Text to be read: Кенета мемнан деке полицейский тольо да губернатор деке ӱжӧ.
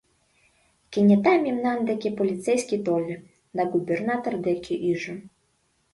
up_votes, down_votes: 2, 0